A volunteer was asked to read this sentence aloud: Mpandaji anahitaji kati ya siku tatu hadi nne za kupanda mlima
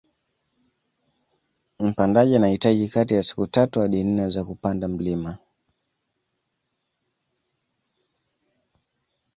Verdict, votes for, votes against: accepted, 2, 0